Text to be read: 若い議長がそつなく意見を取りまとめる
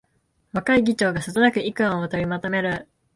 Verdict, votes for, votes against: rejected, 1, 2